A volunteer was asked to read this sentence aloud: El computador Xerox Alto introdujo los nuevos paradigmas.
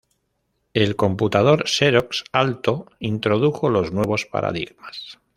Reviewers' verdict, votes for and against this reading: accepted, 2, 0